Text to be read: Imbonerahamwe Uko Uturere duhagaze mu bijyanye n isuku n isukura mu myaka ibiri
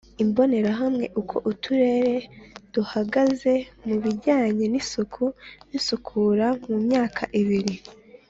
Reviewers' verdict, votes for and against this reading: accepted, 2, 0